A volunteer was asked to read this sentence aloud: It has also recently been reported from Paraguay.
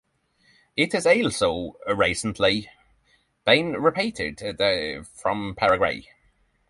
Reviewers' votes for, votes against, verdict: 0, 6, rejected